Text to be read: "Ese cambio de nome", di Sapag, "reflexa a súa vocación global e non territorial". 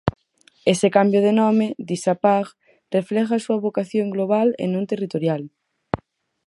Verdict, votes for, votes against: rejected, 2, 2